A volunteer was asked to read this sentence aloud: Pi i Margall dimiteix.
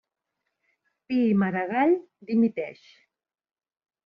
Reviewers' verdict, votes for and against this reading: rejected, 0, 2